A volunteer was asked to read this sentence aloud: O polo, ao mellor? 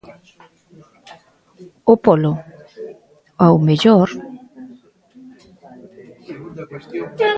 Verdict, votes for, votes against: rejected, 1, 2